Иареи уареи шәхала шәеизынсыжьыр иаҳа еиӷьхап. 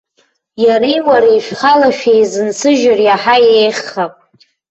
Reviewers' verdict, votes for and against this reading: rejected, 0, 2